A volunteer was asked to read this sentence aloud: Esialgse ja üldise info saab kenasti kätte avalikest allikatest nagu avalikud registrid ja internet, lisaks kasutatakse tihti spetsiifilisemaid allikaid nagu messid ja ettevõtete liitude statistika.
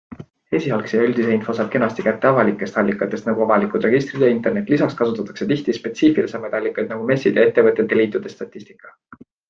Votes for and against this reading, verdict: 2, 0, accepted